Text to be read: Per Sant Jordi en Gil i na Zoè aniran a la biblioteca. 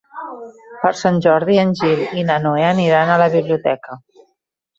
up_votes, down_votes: 1, 2